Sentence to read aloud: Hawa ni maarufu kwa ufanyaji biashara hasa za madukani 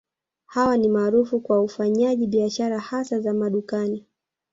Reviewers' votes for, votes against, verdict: 1, 2, rejected